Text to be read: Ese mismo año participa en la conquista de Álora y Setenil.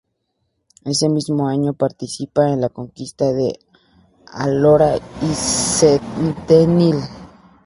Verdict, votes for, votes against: accepted, 2, 0